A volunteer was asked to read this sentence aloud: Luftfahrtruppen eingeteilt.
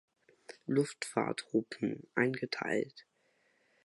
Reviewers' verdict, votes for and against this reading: rejected, 0, 2